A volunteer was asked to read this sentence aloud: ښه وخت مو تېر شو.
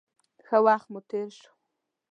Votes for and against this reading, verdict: 2, 0, accepted